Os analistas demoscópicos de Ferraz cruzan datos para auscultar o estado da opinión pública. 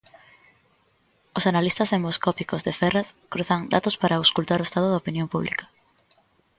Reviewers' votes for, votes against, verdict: 2, 1, accepted